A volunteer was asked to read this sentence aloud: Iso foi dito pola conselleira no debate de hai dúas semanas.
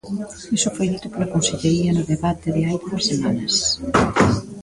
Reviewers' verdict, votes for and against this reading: rejected, 0, 2